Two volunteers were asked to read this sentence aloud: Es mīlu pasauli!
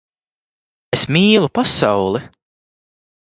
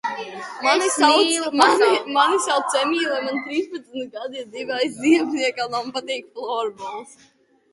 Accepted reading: first